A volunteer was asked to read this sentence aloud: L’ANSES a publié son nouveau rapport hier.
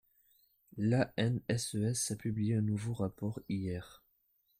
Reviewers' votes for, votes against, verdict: 0, 2, rejected